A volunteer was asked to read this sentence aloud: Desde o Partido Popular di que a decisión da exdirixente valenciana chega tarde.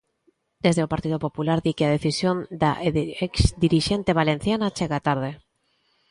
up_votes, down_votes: 0, 2